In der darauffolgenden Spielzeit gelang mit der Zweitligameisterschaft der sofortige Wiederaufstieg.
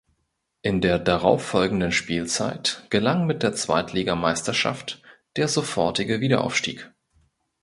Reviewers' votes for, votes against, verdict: 2, 0, accepted